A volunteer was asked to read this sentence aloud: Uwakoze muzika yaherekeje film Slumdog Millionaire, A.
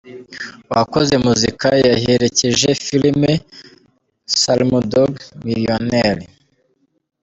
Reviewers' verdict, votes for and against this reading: rejected, 1, 2